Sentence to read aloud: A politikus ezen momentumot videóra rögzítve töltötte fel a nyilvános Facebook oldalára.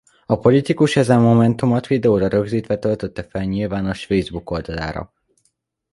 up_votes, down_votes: 2, 1